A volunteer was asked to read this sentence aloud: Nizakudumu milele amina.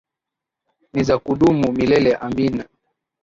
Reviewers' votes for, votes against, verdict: 7, 6, accepted